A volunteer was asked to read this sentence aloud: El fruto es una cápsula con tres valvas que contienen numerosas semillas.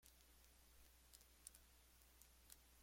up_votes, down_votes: 0, 2